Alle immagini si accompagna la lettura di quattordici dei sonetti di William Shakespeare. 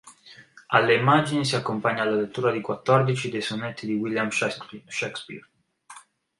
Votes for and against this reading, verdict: 0, 2, rejected